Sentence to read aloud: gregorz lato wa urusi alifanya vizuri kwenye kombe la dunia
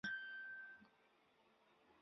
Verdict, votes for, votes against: rejected, 0, 2